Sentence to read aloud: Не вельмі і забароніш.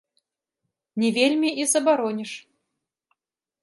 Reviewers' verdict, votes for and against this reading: accepted, 2, 0